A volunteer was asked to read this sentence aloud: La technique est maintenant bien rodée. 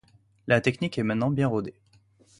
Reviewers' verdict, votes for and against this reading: accepted, 2, 0